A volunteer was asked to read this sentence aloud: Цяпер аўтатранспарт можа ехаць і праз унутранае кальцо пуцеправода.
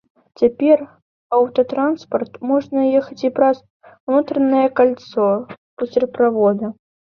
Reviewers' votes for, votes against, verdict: 1, 2, rejected